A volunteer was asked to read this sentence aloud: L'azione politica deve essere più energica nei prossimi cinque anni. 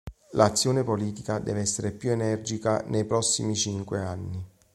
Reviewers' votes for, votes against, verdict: 2, 0, accepted